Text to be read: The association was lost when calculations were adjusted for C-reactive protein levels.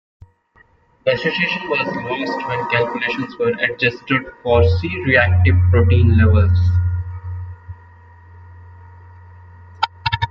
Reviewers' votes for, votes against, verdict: 2, 1, accepted